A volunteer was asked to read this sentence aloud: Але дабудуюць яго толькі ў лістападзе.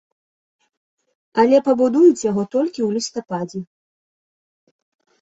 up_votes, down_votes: 0, 2